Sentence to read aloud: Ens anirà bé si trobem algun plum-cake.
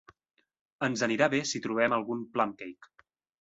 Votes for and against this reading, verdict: 2, 0, accepted